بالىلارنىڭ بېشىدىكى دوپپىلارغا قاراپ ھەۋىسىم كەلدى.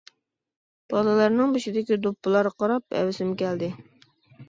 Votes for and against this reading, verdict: 2, 0, accepted